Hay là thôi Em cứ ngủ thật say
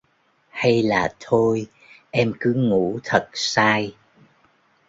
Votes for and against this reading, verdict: 0, 2, rejected